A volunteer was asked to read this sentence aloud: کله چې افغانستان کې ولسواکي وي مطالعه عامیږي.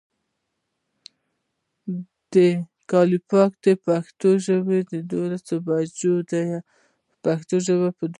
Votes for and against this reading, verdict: 1, 2, rejected